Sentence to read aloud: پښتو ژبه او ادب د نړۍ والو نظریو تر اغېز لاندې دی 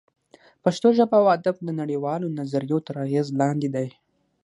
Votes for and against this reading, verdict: 3, 6, rejected